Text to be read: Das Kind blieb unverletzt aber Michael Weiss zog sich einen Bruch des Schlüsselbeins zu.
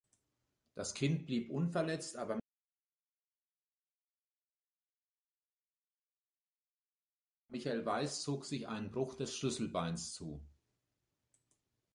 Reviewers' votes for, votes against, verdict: 0, 2, rejected